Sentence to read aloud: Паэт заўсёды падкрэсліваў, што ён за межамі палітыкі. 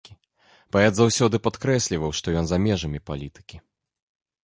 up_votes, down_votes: 2, 0